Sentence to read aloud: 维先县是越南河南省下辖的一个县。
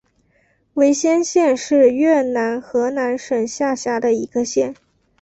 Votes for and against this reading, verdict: 2, 0, accepted